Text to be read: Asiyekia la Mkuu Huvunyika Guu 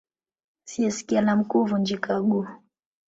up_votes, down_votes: 3, 1